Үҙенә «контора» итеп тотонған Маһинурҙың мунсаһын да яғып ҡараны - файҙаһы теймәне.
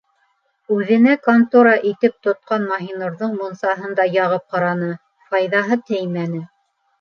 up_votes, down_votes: 0, 2